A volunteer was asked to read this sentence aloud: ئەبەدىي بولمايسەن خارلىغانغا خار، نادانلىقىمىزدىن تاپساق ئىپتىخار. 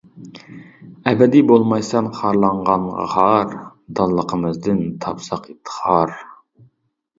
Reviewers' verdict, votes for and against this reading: rejected, 0, 2